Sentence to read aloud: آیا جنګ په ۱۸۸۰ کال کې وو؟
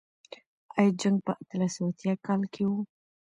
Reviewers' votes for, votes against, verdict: 0, 2, rejected